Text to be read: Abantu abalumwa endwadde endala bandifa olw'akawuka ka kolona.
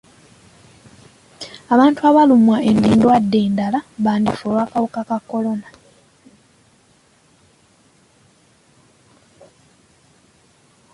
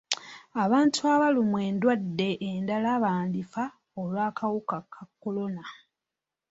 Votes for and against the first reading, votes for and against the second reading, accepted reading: 0, 2, 3, 0, second